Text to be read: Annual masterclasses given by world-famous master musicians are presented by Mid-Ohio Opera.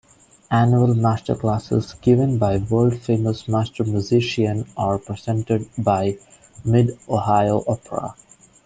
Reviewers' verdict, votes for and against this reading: rejected, 0, 2